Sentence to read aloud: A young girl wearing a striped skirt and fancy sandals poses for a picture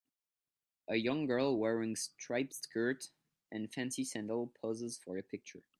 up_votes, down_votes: 1, 2